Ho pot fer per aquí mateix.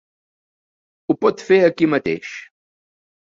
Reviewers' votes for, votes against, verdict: 0, 2, rejected